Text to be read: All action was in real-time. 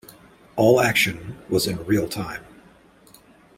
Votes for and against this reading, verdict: 2, 1, accepted